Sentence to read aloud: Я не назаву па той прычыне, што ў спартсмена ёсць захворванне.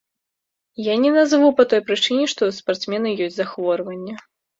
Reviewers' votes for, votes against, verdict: 2, 0, accepted